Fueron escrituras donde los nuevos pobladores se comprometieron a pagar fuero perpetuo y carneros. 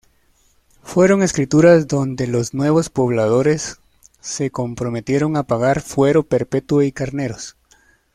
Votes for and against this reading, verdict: 2, 0, accepted